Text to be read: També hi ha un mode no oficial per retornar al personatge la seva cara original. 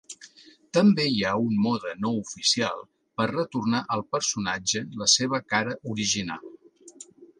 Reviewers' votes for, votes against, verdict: 2, 0, accepted